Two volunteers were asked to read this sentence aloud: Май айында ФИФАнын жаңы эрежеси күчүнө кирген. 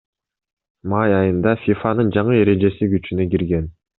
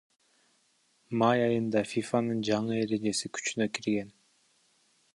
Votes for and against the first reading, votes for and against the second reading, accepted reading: 2, 0, 0, 2, first